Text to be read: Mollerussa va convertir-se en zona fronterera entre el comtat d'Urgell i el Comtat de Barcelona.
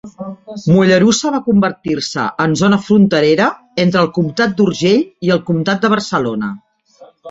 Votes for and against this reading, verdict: 2, 1, accepted